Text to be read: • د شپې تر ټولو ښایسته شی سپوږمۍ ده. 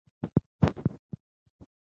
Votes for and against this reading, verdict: 1, 3, rejected